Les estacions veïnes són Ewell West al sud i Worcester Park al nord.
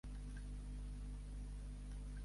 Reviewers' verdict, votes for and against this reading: rejected, 0, 4